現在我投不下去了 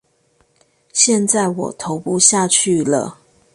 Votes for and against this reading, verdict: 2, 0, accepted